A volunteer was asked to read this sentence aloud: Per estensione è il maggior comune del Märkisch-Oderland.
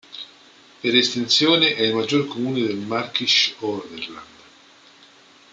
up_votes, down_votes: 2, 0